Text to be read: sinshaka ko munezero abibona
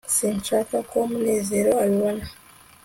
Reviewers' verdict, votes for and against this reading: accepted, 2, 0